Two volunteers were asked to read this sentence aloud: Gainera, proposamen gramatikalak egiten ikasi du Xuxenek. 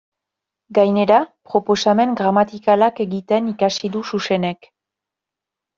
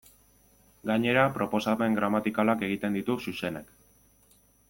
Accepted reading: first